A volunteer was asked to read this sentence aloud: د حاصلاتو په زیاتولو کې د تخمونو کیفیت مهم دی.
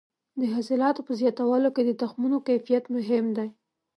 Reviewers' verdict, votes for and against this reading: accepted, 2, 0